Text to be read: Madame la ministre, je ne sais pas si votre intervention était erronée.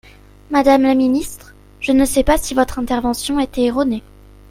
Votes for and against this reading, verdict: 2, 0, accepted